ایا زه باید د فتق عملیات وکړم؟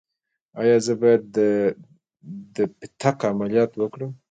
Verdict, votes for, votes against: accepted, 2, 0